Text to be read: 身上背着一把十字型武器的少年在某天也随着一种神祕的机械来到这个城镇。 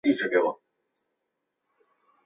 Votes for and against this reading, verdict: 0, 2, rejected